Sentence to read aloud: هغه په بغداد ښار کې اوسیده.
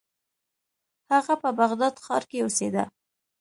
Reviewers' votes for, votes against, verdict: 2, 0, accepted